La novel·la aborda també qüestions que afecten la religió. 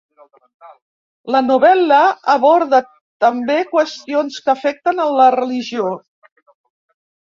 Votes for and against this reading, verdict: 0, 2, rejected